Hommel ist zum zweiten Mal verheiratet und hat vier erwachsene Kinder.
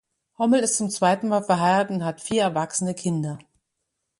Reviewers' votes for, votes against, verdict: 2, 0, accepted